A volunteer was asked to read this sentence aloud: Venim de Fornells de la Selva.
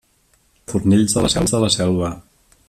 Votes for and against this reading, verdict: 0, 3, rejected